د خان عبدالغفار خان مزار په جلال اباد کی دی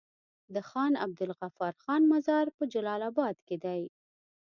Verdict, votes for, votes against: accepted, 2, 0